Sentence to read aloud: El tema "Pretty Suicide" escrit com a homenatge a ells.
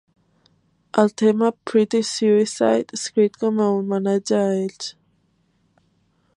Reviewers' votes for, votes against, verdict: 3, 0, accepted